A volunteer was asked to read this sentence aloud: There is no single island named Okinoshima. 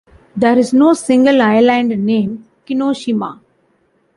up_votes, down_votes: 0, 2